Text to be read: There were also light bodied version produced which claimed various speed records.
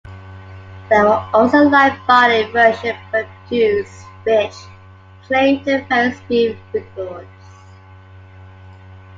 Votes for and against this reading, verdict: 2, 1, accepted